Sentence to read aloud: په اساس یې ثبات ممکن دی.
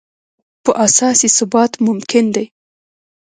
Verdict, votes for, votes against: rejected, 1, 2